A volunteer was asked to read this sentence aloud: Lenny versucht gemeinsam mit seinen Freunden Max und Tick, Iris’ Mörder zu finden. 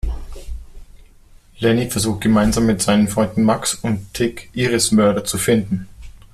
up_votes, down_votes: 2, 0